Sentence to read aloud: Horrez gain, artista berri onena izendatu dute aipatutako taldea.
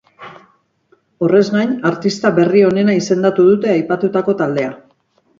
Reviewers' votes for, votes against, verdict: 4, 0, accepted